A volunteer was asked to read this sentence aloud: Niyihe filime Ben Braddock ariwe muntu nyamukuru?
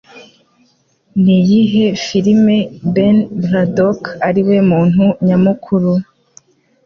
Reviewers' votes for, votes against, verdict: 2, 0, accepted